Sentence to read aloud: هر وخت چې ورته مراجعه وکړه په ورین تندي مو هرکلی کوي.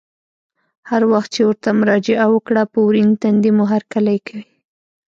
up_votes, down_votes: 0, 2